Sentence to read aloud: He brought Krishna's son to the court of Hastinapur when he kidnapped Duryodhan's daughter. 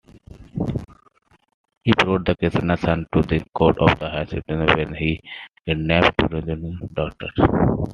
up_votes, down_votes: 0, 2